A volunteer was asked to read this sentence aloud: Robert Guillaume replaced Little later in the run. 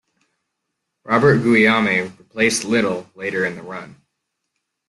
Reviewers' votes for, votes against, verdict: 2, 1, accepted